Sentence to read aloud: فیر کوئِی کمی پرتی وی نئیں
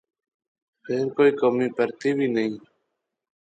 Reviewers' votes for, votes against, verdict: 3, 0, accepted